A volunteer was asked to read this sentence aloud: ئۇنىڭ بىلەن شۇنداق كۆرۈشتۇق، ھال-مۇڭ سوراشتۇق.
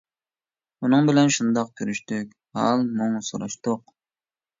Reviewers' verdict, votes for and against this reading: rejected, 0, 2